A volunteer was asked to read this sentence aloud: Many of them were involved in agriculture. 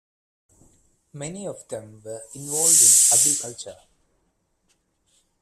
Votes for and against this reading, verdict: 1, 2, rejected